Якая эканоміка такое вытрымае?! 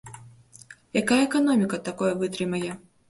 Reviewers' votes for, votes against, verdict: 2, 0, accepted